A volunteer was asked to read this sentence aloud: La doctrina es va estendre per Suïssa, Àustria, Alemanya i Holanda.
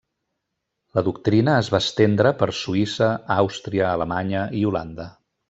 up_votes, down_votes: 3, 0